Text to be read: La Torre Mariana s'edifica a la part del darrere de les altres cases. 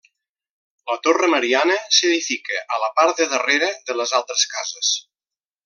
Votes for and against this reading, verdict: 2, 0, accepted